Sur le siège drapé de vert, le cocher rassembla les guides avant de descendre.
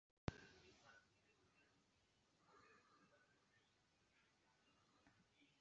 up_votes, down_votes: 0, 2